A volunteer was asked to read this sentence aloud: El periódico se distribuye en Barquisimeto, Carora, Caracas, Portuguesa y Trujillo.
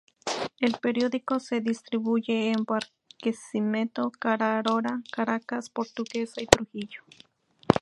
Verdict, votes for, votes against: rejected, 2, 2